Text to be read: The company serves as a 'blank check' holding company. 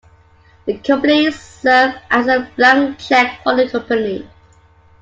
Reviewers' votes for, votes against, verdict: 1, 2, rejected